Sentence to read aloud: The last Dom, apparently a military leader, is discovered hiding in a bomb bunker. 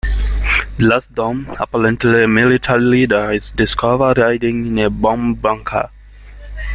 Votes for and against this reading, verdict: 0, 2, rejected